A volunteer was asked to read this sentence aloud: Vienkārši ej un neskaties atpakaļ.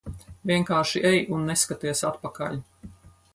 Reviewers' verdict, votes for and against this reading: accepted, 4, 0